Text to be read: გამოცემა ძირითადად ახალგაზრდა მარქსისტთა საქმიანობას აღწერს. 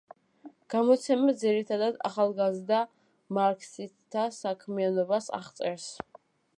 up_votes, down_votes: 1, 2